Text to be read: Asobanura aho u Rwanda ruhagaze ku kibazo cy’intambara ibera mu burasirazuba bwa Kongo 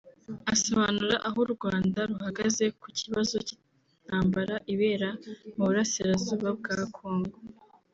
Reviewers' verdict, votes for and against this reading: accepted, 2, 0